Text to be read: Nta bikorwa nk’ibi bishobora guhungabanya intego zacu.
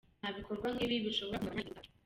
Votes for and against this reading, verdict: 0, 2, rejected